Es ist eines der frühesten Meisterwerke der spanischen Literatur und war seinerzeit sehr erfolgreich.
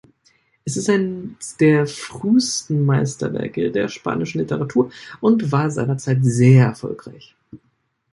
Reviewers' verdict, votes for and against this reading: rejected, 0, 2